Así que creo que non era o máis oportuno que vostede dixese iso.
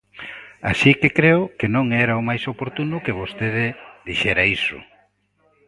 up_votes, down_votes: 0, 2